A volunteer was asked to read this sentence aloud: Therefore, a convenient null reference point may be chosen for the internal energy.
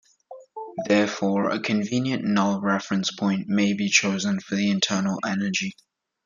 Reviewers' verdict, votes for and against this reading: accepted, 2, 0